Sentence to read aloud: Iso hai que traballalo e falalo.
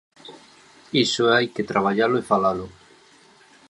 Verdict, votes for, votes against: accepted, 2, 0